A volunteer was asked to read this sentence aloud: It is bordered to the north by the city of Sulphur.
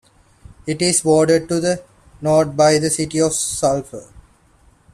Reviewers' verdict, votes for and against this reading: accepted, 2, 0